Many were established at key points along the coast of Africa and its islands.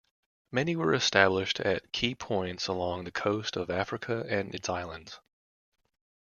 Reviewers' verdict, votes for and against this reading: accepted, 2, 0